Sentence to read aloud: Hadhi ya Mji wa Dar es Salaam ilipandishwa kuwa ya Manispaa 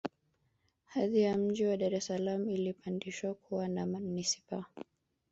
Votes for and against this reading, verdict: 2, 3, rejected